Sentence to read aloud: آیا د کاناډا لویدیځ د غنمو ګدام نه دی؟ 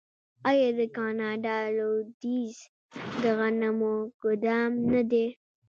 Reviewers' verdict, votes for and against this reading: accepted, 2, 1